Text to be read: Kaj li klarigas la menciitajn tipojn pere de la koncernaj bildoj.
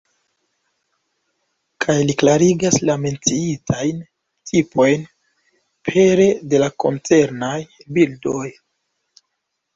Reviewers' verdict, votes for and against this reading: accepted, 2, 0